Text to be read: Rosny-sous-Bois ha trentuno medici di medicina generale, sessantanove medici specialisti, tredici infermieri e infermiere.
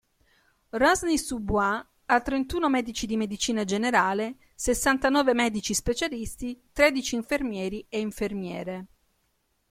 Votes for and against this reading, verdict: 0, 2, rejected